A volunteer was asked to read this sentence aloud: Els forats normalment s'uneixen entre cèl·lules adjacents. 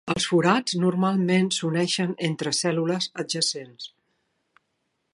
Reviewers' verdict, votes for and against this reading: accepted, 2, 0